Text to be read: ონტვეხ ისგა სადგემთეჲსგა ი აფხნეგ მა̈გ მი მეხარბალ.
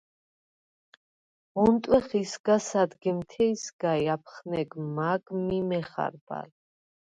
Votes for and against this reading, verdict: 0, 4, rejected